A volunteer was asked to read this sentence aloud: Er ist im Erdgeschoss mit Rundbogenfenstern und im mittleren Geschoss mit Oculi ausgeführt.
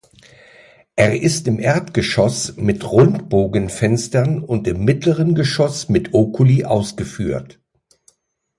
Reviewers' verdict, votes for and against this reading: accepted, 2, 0